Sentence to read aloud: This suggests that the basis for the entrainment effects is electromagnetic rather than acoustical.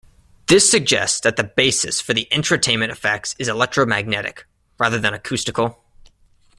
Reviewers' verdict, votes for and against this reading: rejected, 1, 2